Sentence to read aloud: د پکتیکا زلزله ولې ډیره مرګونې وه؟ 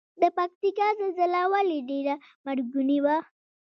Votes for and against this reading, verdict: 2, 0, accepted